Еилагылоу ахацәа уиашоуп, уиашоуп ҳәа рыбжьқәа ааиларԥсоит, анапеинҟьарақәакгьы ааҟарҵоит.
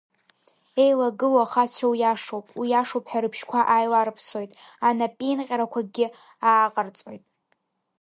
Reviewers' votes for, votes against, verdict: 4, 0, accepted